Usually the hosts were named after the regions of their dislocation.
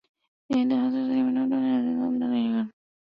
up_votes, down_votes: 0, 2